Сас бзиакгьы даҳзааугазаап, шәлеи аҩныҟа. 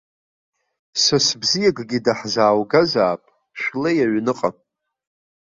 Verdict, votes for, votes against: accepted, 2, 0